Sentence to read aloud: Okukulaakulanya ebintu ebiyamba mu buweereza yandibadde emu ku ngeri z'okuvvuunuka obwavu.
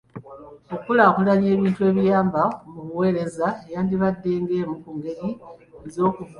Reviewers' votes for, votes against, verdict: 0, 2, rejected